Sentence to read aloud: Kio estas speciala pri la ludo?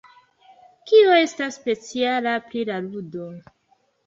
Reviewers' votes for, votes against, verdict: 2, 1, accepted